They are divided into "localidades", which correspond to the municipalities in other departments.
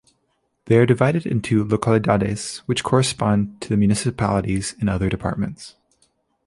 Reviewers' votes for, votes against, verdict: 4, 0, accepted